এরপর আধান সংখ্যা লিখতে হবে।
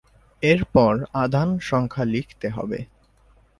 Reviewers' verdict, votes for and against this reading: accepted, 3, 0